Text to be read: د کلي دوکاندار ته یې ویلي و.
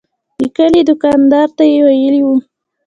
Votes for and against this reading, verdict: 2, 0, accepted